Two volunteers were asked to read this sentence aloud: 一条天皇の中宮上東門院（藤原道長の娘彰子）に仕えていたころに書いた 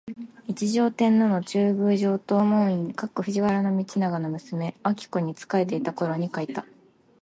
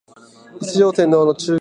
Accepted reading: first